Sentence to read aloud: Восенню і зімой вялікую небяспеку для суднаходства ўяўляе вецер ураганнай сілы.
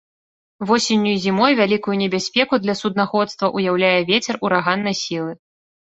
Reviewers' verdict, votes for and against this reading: accepted, 2, 0